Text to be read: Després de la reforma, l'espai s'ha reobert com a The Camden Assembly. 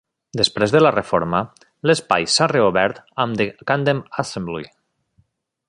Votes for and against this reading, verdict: 0, 2, rejected